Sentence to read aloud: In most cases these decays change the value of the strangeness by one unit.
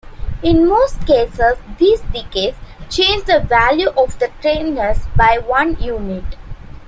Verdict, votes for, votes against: accepted, 2, 1